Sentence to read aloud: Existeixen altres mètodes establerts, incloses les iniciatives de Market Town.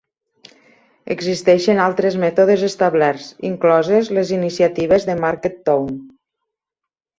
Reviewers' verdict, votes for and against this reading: accepted, 2, 0